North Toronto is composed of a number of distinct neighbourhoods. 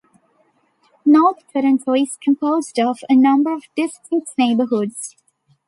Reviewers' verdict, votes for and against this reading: rejected, 1, 2